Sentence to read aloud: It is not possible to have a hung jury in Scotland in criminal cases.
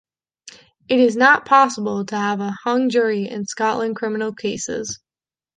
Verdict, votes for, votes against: rejected, 0, 2